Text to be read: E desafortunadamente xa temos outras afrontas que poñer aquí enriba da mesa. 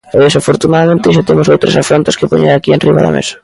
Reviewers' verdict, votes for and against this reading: rejected, 1, 2